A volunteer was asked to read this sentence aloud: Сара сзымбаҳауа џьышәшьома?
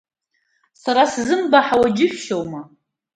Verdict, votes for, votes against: accepted, 2, 0